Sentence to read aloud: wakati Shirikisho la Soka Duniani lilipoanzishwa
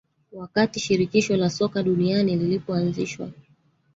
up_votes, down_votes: 3, 1